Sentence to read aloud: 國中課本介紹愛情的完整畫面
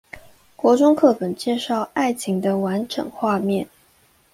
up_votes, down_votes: 2, 0